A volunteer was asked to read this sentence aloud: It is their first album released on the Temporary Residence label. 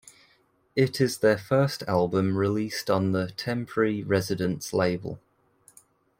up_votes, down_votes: 2, 0